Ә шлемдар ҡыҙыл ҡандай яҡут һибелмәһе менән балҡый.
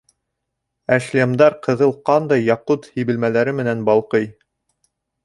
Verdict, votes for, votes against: rejected, 0, 2